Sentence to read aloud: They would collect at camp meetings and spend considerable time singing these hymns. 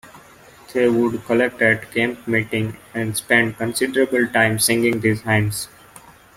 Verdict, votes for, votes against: rejected, 0, 2